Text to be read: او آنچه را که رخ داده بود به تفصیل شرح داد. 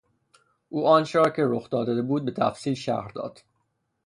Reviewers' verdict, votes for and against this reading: rejected, 3, 3